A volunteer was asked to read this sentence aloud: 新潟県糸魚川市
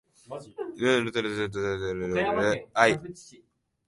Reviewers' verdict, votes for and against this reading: rejected, 0, 2